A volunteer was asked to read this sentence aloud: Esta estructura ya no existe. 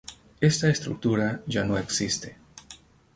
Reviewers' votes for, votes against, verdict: 2, 0, accepted